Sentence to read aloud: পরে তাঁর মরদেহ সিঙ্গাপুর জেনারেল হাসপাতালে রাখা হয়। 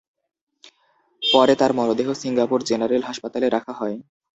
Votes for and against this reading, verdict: 0, 2, rejected